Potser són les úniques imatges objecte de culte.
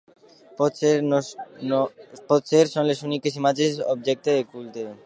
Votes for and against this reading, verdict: 0, 2, rejected